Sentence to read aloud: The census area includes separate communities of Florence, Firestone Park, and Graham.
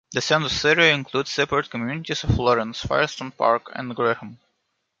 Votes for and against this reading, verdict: 0, 2, rejected